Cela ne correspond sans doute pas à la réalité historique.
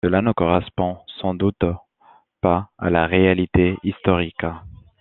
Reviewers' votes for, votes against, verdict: 1, 2, rejected